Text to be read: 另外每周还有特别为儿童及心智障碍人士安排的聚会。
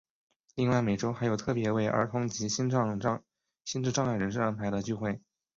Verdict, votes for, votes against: rejected, 2, 3